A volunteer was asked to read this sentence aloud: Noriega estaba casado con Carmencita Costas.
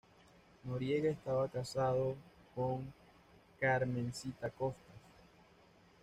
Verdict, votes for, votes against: rejected, 1, 2